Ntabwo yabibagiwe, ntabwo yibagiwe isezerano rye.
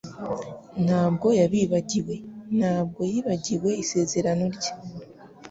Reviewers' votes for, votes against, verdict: 4, 0, accepted